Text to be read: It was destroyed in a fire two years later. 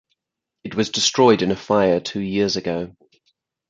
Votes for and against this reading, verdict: 0, 4, rejected